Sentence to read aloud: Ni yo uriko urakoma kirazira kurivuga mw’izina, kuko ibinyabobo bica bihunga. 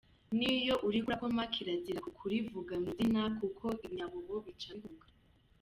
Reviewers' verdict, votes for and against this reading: rejected, 1, 2